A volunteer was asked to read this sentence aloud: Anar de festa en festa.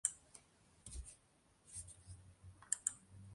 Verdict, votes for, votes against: rejected, 0, 2